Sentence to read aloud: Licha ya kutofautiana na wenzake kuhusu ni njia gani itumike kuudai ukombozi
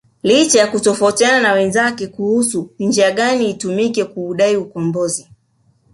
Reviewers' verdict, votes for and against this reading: rejected, 1, 2